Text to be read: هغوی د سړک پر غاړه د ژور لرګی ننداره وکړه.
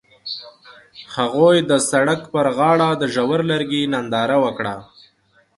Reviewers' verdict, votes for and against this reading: accepted, 2, 0